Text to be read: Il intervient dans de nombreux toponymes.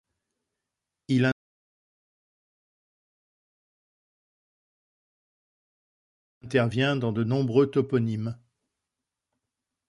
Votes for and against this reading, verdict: 0, 2, rejected